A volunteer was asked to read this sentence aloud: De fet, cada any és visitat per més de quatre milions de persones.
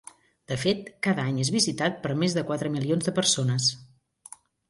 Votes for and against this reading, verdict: 2, 0, accepted